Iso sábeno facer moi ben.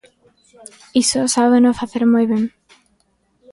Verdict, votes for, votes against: accepted, 2, 0